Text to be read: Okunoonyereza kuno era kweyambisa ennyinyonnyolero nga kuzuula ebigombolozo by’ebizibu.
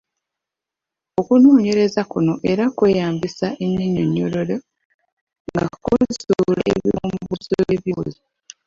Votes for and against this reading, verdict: 1, 3, rejected